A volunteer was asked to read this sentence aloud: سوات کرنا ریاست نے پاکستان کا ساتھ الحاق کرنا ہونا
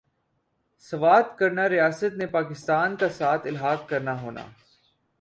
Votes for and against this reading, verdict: 2, 0, accepted